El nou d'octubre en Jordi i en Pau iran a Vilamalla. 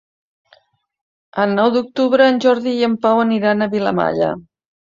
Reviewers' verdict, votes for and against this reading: rejected, 0, 2